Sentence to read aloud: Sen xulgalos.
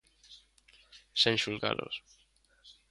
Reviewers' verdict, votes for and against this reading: accepted, 2, 0